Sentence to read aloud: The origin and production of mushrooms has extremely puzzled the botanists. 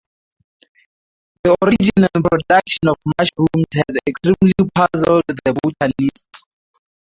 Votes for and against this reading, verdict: 0, 2, rejected